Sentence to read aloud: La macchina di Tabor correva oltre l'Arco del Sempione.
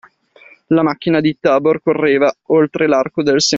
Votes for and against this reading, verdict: 0, 2, rejected